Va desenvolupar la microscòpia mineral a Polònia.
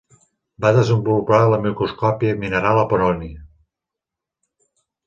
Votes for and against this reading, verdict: 1, 2, rejected